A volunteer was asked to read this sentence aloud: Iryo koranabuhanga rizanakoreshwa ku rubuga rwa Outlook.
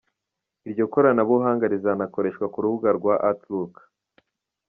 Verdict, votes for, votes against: accepted, 2, 0